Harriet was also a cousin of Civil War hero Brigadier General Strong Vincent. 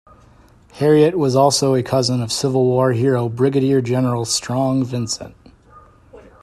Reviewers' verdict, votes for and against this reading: accepted, 2, 0